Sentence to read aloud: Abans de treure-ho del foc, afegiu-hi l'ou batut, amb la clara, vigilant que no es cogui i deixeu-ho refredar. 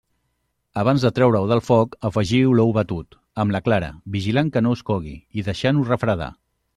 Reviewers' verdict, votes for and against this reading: rejected, 0, 2